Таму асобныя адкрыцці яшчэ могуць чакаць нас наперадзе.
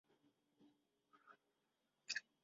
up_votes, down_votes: 0, 2